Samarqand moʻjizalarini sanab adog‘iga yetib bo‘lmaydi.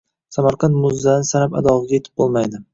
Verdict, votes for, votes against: rejected, 0, 2